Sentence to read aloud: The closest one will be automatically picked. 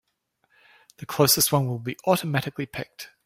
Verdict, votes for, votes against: accepted, 4, 0